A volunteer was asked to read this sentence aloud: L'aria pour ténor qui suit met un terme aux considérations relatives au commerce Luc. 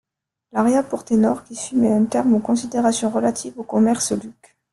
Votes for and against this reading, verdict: 1, 2, rejected